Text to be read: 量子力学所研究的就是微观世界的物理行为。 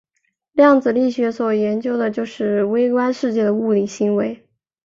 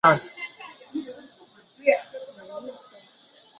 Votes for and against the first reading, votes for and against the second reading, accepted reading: 2, 0, 0, 3, first